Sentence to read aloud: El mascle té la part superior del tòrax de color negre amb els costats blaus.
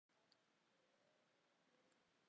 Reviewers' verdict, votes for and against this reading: rejected, 0, 2